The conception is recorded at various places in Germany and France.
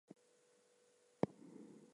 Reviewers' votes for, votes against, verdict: 0, 2, rejected